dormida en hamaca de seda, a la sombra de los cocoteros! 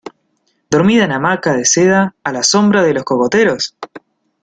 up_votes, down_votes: 1, 2